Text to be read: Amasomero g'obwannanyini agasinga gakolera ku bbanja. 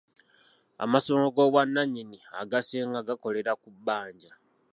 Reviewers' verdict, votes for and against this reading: rejected, 1, 2